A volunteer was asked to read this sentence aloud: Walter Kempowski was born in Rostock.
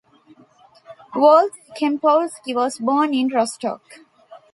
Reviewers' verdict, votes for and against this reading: rejected, 1, 2